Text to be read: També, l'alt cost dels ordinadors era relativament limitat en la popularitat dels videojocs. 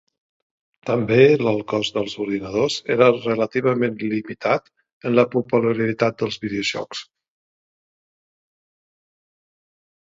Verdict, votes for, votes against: rejected, 1, 2